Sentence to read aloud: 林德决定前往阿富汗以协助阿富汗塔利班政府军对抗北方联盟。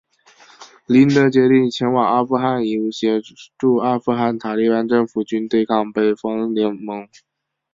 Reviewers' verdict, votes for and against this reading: accepted, 2, 0